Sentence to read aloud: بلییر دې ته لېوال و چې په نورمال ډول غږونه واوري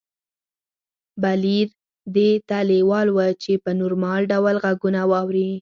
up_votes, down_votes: 2, 4